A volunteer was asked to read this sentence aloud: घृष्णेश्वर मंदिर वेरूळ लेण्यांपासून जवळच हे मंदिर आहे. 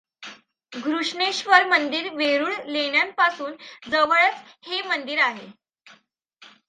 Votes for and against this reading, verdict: 2, 0, accepted